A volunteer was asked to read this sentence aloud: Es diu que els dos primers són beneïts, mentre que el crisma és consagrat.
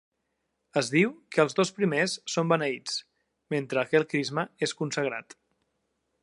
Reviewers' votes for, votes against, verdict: 2, 0, accepted